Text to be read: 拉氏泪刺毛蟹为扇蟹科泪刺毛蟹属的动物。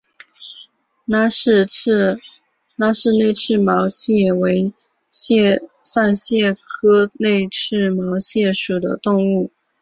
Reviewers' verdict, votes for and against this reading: rejected, 1, 2